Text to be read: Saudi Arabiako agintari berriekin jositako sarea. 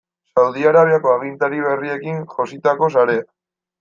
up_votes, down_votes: 2, 0